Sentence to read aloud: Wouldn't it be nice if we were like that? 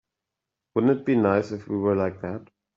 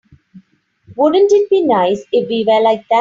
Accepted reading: first